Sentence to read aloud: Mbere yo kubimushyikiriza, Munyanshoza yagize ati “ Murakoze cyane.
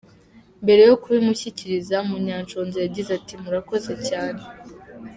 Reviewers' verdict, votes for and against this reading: accepted, 2, 0